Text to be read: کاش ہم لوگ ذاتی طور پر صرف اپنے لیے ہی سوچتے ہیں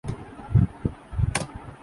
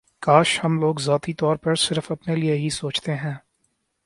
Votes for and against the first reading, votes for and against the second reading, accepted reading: 0, 2, 3, 0, second